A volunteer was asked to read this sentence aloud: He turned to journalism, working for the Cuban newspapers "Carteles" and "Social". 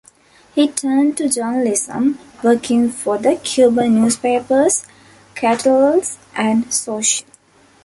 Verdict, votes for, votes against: rejected, 1, 2